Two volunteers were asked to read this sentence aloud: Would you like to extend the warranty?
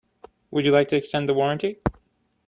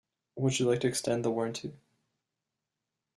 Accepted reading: first